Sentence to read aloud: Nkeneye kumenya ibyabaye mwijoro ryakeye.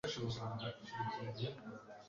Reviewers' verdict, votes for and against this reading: rejected, 1, 2